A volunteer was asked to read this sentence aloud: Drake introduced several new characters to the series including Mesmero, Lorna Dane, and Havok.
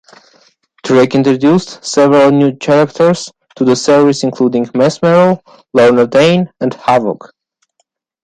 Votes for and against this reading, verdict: 2, 0, accepted